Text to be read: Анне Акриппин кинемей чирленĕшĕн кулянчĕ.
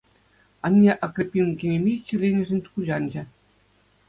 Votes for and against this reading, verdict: 2, 0, accepted